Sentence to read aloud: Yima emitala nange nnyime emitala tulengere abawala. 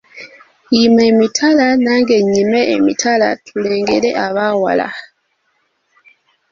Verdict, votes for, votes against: rejected, 2, 5